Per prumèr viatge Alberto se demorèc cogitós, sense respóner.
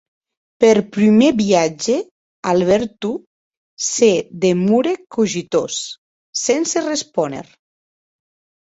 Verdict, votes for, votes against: accepted, 2, 0